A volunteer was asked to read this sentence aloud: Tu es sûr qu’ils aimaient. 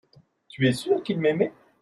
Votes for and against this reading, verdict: 0, 2, rejected